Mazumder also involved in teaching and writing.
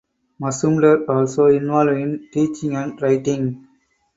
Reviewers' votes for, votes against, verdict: 2, 4, rejected